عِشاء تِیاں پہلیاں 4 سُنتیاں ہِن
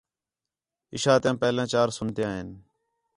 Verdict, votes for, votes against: rejected, 0, 2